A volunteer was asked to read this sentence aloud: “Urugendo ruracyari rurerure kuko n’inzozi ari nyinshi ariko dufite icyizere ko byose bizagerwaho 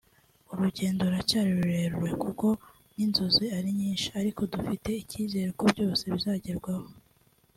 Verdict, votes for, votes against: accepted, 2, 0